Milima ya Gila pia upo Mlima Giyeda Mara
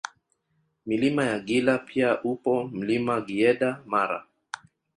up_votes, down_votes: 0, 2